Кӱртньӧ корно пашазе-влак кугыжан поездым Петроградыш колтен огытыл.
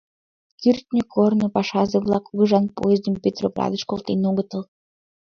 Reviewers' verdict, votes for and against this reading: accepted, 3, 0